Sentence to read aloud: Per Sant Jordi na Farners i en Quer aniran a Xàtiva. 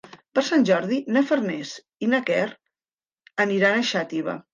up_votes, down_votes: 1, 2